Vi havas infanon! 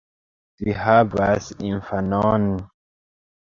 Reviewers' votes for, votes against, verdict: 0, 2, rejected